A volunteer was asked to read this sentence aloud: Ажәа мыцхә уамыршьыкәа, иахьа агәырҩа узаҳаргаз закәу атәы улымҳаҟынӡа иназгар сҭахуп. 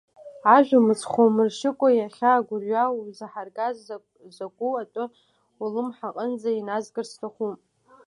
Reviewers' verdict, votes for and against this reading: rejected, 1, 2